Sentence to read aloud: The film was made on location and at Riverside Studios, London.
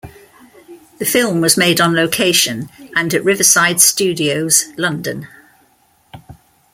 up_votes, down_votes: 2, 0